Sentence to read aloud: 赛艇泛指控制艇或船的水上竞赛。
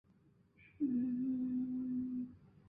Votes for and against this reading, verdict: 1, 5, rejected